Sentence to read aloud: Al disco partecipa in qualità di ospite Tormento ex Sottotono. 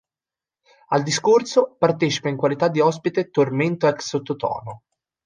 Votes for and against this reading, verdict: 0, 2, rejected